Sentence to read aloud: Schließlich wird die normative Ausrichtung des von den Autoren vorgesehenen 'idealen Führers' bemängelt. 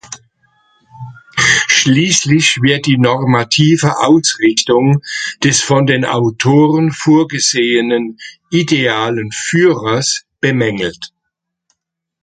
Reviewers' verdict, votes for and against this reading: accepted, 2, 0